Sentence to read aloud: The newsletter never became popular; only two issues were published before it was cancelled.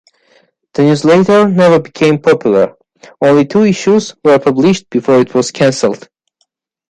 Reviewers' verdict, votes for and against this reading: rejected, 1, 2